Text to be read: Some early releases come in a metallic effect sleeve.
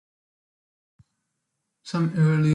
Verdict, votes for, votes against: rejected, 0, 2